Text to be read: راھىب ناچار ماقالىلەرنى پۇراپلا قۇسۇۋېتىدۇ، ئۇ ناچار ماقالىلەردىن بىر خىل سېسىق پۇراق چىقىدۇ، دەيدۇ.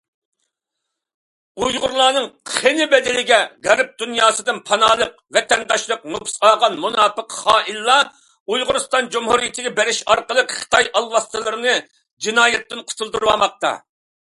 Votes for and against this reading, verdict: 0, 2, rejected